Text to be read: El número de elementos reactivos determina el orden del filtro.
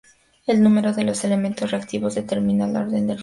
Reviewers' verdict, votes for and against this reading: rejected, 0, 4